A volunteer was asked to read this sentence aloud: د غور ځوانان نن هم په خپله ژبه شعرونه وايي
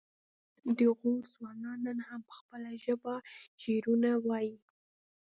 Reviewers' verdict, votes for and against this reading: rejected, 1, 2